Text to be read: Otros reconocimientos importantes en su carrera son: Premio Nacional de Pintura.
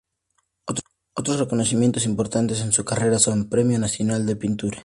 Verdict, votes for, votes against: rejected, 0, 2